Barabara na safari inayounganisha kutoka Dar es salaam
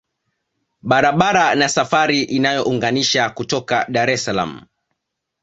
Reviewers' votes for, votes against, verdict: 2, 0, accepted